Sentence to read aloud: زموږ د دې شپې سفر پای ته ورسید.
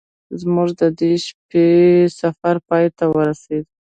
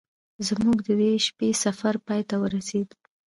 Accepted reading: first